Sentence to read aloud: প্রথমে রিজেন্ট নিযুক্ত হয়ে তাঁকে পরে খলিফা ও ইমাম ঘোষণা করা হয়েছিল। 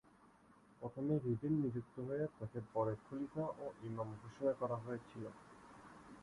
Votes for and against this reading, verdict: 5, 14, rejected